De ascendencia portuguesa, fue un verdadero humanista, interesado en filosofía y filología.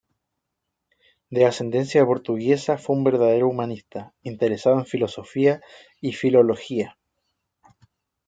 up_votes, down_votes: 2, 0